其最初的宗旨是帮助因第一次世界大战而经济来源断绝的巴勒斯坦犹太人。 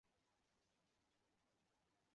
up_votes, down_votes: 0, 3